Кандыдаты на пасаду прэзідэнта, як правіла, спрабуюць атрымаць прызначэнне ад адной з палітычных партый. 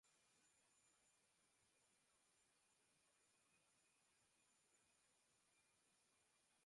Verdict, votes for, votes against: rejected, 0, 2